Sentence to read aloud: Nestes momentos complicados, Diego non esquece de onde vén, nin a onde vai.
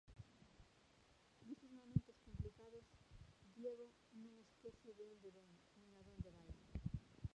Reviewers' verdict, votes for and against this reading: rejected, 0, 2